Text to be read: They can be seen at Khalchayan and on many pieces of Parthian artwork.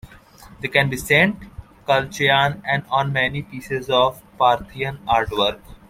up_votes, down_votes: 1, 2